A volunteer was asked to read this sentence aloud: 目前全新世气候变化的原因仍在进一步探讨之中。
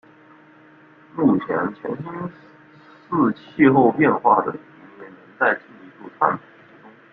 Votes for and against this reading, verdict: 0, 2, rejected